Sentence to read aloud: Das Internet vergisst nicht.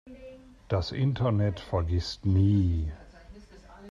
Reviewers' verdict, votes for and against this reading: rejected, 0, 2